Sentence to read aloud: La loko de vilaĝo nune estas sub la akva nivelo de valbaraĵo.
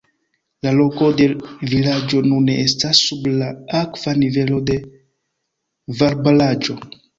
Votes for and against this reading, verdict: 1, 2, rejected